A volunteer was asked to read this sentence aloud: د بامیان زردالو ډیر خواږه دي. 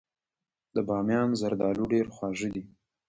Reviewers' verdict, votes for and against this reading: rejected, 0, 2